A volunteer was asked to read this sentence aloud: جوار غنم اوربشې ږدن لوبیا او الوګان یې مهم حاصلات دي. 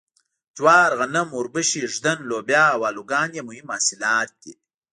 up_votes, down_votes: 1, 2